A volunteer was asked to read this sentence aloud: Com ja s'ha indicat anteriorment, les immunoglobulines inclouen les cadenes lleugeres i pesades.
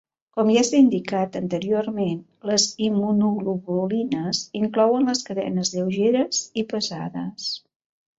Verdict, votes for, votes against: accepted, 3, 0